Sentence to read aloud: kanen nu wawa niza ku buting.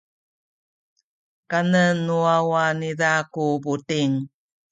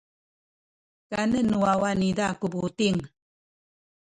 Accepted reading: first